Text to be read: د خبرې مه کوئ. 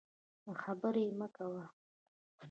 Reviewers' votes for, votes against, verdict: 2, 0, accepted